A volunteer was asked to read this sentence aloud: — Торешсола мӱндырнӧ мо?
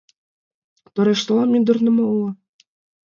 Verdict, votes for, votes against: rejected, 1, 2